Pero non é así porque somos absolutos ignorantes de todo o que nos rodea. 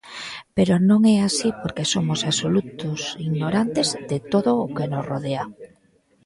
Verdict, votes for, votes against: rejected, 1, 2